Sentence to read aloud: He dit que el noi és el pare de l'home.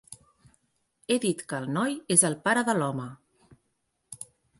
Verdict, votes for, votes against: accepted, 4, 0